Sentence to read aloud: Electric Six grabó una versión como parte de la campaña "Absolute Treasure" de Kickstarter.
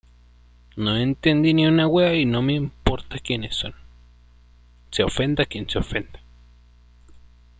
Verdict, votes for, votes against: rejected, 0, 2